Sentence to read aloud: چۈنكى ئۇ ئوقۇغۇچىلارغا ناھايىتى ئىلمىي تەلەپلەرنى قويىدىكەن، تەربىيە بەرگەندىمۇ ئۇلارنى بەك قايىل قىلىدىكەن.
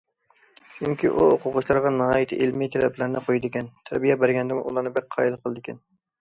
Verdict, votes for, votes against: accepted, 2, 0